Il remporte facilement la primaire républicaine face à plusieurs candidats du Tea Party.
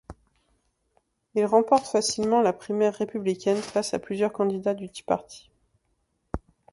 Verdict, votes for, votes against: accepted, 2, 0